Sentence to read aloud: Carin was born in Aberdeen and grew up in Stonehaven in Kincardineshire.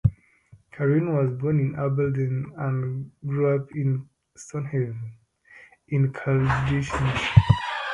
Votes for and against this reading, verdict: 0, 2, rejected